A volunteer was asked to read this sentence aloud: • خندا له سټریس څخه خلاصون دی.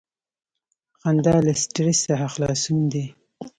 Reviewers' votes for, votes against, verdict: 2, 0, accepted